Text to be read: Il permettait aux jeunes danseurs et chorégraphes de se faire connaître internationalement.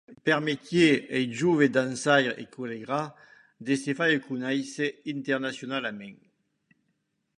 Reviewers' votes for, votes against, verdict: 1, 2, rejected